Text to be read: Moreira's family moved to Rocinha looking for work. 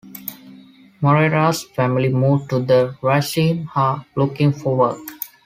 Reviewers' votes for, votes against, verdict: 1, 2, rejected